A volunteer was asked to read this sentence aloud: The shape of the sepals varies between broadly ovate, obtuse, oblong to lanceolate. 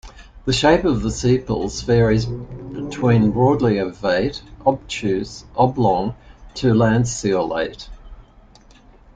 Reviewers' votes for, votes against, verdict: 2, 0, accepted